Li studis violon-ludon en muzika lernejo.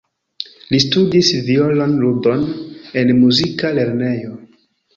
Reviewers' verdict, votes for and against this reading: accepted, 2, 0